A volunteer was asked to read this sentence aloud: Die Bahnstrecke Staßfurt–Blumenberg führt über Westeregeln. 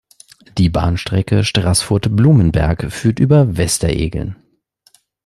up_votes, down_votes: 0, 2